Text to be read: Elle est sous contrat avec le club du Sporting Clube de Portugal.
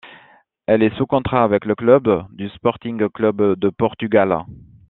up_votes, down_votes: 2, 0